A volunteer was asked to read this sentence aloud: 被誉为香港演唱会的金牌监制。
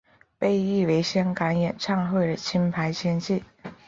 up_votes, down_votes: 1, 2